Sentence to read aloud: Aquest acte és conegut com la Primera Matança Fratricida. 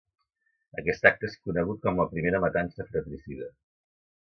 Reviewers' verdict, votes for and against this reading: rejected, 1, 2